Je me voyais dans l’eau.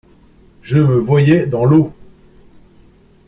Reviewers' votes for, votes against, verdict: 2, 0, accepted